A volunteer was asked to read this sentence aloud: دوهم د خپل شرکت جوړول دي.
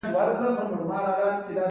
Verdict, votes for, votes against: accepted, 2, 1